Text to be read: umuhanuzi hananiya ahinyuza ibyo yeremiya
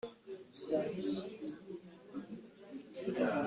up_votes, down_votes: 0, 2